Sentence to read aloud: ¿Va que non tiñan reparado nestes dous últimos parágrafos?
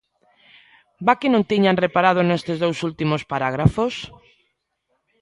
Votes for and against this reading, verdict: 2, 0, accepted